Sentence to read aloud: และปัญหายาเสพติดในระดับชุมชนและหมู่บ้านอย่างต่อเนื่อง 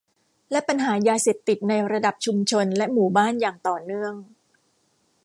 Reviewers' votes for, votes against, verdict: 2, 1, accepted